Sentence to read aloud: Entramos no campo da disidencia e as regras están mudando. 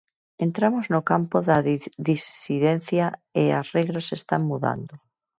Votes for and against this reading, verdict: 0, 4, rejected